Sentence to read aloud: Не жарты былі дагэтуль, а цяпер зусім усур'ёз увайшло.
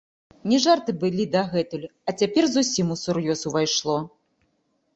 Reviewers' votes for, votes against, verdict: 1, 2, rejected